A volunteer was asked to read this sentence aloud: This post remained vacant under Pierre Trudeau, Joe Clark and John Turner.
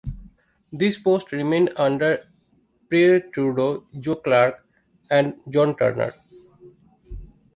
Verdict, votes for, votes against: rejected, 0, 2